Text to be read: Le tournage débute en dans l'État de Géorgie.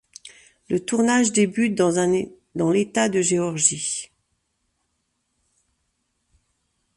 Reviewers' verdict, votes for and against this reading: rejected, 1, 2